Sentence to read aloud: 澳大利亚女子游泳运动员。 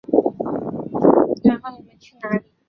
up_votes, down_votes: 0, 2